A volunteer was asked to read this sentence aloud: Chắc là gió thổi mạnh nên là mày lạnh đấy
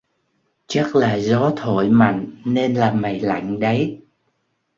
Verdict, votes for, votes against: accepted, 2, 0